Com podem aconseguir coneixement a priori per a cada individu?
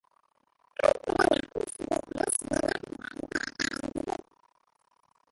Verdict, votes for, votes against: rejected, 0, 3